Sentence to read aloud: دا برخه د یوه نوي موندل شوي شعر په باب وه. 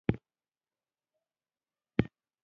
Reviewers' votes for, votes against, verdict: 0, 2, rejected